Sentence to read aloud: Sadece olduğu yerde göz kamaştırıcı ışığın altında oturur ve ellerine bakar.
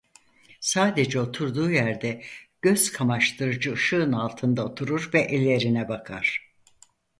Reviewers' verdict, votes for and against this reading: rejected, 0, 4